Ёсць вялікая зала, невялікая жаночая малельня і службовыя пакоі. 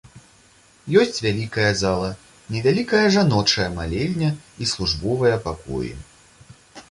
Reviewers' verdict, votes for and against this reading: accepted, 2, 0